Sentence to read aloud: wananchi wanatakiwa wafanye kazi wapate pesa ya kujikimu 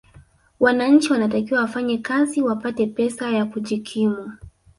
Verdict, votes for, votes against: rejected, 1, 2